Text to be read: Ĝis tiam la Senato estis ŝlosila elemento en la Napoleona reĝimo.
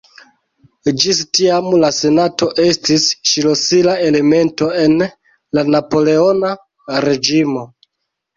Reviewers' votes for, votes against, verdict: 2, 0, accepted